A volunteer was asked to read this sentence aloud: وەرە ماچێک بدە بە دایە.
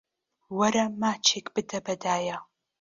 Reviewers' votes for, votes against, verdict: 2, 0, accepted